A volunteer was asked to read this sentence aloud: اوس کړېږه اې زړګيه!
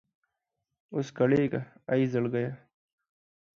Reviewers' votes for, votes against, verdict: 2, 0, accepted